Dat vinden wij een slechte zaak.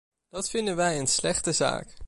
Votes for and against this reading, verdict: 2, 0, accepted